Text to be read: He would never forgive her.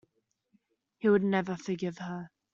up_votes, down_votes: 2, 1